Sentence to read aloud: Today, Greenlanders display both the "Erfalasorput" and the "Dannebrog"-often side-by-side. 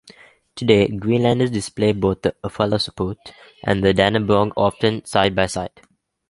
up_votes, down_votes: 2, 0